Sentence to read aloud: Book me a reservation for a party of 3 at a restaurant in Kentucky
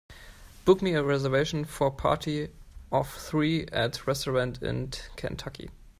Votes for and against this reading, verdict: 0, 2, rejected